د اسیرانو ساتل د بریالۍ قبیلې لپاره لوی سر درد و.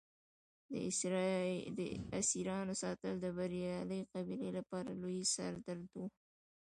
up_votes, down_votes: 1, 2